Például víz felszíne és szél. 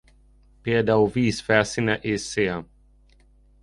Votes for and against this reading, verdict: 2, 0, accepted